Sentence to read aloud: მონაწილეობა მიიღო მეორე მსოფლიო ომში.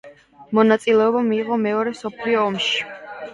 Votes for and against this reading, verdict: 0, 2, rejected